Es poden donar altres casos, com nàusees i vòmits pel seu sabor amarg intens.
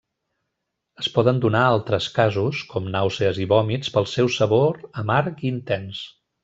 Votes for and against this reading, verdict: 2, 0, accepted